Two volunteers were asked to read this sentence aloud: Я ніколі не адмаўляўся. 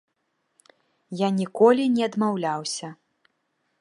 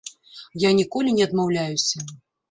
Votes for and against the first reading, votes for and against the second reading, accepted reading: 3, 0, 1, 2, first